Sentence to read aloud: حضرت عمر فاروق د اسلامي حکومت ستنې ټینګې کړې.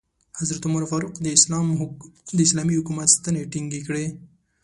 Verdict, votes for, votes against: accepted, 2, 1